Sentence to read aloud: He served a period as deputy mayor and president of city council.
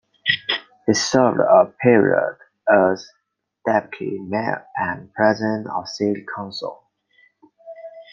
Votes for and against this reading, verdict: 2, 1, accepted